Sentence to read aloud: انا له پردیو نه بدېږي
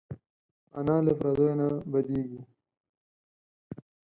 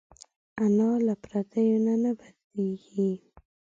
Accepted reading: first